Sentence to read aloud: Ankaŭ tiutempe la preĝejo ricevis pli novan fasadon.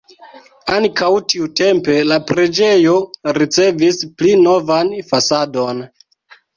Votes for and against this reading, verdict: 2, 0, accepted